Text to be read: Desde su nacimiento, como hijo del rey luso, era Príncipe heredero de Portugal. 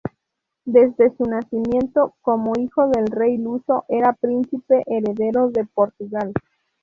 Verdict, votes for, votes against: rejected, 0, 2